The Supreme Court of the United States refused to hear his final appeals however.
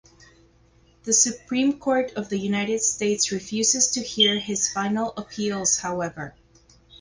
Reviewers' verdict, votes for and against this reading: rejected, 0, 2